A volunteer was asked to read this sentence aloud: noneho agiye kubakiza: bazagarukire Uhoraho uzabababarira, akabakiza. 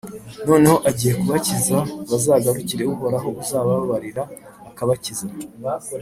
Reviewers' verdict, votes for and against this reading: accepted, 2, 0